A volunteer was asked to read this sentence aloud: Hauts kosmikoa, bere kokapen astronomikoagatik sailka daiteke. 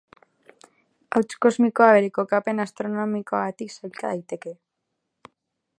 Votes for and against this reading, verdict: 6, 2, accepted